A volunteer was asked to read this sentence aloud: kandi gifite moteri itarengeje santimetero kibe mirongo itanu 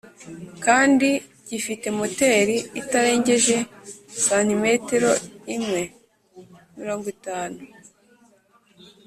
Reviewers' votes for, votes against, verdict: 1, 4, rejected